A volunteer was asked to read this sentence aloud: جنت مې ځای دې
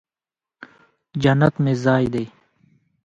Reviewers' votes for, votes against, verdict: 0, 2, rejected